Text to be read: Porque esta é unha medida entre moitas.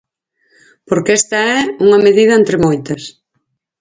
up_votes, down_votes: 0, 4